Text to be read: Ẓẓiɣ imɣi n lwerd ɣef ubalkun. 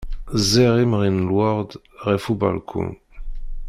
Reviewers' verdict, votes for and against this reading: accepted, 2, 1